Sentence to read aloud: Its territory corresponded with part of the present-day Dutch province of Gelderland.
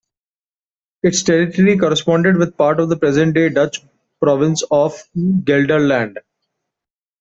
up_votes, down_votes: 2, 0